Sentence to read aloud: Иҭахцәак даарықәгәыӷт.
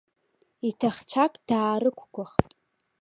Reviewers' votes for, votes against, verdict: 2, 0, accepted